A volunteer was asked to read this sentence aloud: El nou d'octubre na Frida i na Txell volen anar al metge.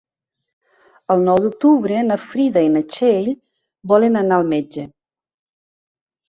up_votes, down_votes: 4, 0